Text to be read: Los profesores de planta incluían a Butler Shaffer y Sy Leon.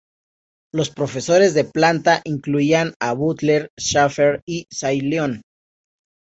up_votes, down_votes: 0, 2